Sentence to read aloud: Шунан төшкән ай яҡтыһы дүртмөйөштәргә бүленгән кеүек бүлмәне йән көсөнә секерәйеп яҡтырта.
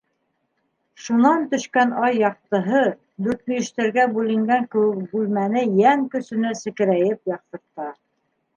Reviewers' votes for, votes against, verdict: 2, 0, accepted